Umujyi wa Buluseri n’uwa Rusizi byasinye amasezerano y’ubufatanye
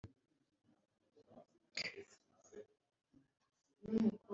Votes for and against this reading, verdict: 0, 2, rejected